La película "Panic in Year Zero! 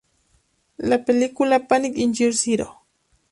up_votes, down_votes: 4, 0